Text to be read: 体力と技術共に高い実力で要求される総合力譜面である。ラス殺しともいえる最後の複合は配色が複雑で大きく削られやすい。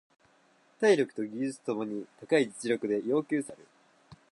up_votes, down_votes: 0, 2